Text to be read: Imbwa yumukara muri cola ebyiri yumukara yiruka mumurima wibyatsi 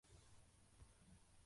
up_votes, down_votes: 1, 2